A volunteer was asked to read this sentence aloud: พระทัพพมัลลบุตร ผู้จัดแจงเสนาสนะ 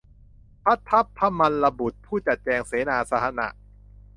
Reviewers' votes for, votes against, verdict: 0, 2, rejected